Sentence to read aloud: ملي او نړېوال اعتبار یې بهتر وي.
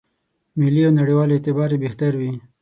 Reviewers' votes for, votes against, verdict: 6, 0, accepted